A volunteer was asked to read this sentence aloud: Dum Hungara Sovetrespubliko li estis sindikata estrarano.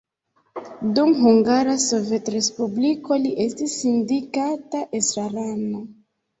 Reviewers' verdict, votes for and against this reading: accepted, 2, 0